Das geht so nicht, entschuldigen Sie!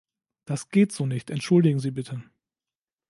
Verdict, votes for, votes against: rejected, 0, 2